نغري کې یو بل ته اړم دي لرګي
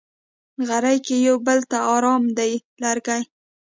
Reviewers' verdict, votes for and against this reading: rejected, 1, 2